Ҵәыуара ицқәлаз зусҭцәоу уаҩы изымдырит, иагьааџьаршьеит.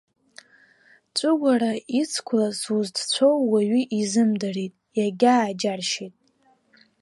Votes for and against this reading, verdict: 1, 2, rejected